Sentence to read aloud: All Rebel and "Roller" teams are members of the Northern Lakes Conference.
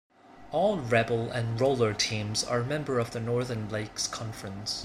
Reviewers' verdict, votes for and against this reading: rejected, 0, 2